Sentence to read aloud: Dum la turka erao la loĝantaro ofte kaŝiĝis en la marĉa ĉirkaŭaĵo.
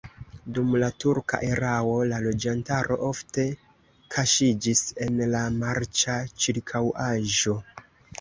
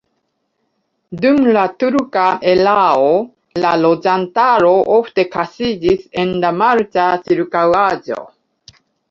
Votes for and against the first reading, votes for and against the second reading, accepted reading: 2, 0, 1, 2, first